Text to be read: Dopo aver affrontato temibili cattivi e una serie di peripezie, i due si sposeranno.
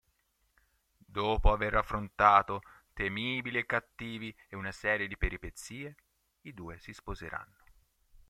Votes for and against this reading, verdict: 2, 0, accepted